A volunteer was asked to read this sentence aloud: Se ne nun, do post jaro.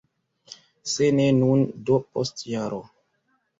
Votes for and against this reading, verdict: 2, 1, accepted